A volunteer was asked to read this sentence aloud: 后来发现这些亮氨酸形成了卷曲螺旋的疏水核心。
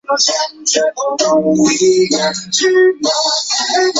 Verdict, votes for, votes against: rejected, 0, 2